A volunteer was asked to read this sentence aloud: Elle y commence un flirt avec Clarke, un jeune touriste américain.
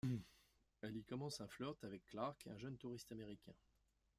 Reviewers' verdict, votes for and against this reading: rejected, 1, 2